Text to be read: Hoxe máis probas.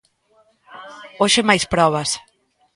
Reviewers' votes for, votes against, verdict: 2, 0, accepted